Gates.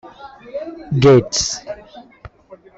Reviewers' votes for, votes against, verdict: 0, 2, rejected